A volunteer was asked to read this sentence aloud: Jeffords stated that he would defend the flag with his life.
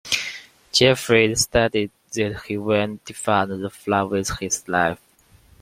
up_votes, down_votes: 0, 2